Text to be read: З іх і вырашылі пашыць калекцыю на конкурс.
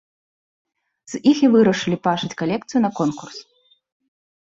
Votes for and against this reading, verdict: 1, 3, rejected